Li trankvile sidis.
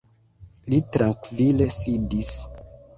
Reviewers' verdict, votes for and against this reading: rejected, 0, 2